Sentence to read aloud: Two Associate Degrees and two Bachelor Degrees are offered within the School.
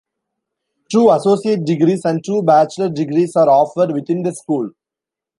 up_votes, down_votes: 2, 0